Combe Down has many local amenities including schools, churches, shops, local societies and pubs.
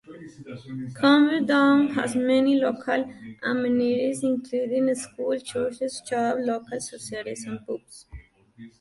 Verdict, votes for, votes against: rejected, 0, 2